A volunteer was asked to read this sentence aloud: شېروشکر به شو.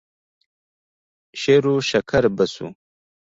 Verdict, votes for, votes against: accepted, 2, 1